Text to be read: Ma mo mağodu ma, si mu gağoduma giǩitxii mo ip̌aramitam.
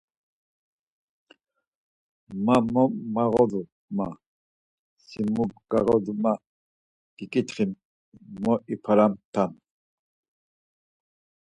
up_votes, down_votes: 2, 4